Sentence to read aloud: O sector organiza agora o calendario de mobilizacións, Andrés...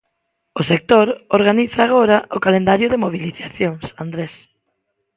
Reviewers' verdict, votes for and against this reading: accepted, 2, 0